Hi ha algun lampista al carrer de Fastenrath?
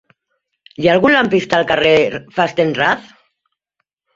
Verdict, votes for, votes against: rejected, 1, 2